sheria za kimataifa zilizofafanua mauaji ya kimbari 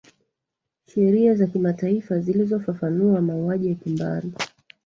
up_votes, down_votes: 2, 1